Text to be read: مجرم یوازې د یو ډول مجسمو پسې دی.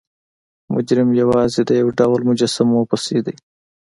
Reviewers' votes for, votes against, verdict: 2, 0, accepted